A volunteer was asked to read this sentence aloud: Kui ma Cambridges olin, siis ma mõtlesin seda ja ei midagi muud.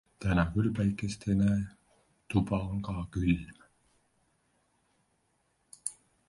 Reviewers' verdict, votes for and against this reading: rejected, 0, 2